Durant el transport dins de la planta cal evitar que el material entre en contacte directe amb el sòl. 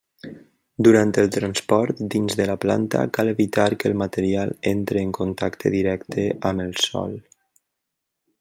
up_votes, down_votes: 3, 0